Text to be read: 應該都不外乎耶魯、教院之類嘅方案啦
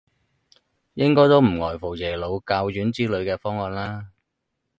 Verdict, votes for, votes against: rejected, 2, 4